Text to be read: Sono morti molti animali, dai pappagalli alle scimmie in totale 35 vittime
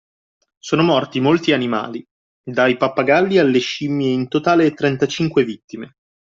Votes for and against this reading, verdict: 0, 2, rejected